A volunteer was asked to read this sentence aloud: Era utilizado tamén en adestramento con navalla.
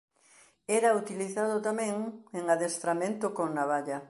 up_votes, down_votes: 3, 0